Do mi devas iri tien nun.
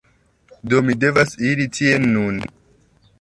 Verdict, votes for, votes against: accepted, 2, 0